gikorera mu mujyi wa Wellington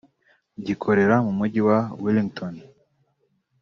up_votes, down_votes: 3, 1